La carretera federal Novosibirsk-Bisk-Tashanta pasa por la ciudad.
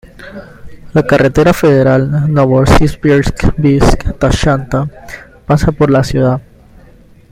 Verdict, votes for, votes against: accepted, 2, 0